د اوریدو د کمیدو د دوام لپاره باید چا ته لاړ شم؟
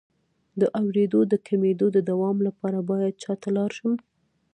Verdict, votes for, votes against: rejected, 0, 2